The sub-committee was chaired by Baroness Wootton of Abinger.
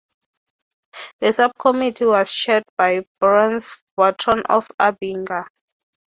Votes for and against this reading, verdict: 3, 3, rejected